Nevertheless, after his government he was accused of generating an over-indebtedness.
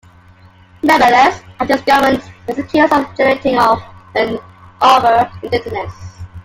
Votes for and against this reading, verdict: 1, 2, rejected